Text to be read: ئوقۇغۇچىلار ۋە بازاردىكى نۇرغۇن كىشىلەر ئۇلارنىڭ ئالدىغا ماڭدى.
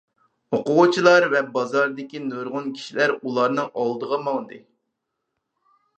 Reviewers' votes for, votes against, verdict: 4, 0, accepted